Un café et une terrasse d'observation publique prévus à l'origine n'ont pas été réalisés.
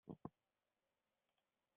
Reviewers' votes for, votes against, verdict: 0, 2, rejected